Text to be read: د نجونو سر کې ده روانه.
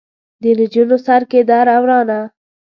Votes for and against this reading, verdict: 1, 2, rejected